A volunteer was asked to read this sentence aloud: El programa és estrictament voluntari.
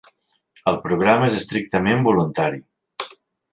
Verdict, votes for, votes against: accepted, 3, 1